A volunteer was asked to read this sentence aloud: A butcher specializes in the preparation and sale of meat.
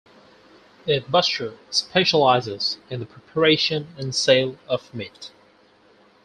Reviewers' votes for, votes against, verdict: 2, 4, rejected